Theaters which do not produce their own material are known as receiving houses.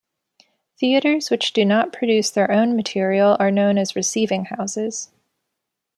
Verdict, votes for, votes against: accepted, 2, 0